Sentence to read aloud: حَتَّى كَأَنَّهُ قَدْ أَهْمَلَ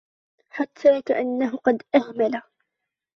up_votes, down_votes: 1, 2